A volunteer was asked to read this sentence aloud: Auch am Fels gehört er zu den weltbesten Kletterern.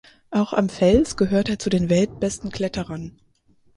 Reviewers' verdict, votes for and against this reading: accepted, 4, 0